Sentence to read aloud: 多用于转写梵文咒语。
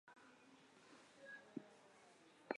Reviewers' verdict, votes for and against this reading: rejected, 1, 2